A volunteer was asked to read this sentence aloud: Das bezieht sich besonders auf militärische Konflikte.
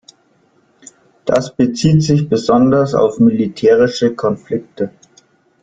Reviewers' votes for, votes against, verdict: 2, 0, accepted